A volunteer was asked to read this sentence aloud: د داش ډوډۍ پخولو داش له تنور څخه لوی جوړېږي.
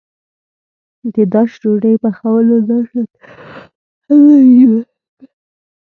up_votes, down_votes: 0, 2